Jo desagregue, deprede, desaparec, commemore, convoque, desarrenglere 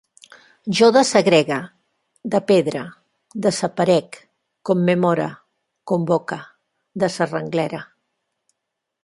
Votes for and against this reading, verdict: 1, 3, rejected